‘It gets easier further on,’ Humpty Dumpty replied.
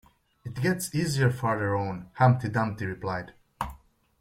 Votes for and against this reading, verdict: 2, 0, accepted